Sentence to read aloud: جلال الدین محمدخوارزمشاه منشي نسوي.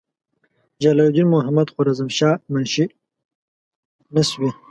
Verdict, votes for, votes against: rejected, 1, 2